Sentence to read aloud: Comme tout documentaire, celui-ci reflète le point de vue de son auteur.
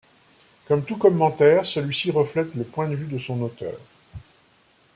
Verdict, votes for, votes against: rejected, 0, 2